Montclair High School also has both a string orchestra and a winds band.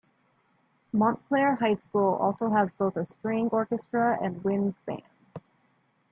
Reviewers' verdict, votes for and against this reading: accepted, 2, 0